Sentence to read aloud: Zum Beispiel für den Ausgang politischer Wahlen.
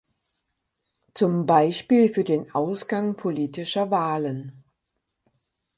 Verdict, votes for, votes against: accepted, 4, 0